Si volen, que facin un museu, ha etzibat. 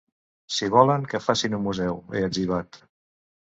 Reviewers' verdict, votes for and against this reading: rejected, 1, 2